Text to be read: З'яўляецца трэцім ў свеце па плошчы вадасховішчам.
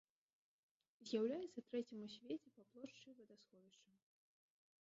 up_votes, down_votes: 1, 2